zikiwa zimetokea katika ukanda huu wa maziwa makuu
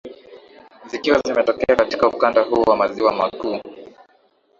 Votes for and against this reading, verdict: 6, 1, accepted